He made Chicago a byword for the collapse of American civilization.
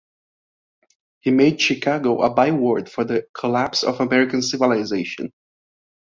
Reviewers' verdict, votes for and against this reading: accepted, 2, 0